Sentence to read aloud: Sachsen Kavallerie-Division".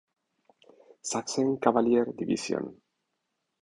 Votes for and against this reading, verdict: 2, 0, accepted